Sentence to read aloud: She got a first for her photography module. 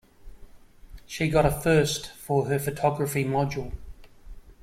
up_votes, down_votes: 2, 0